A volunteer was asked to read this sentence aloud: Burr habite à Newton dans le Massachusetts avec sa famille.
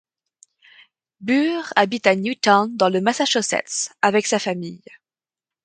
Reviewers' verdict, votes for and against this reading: accepted, 2, 0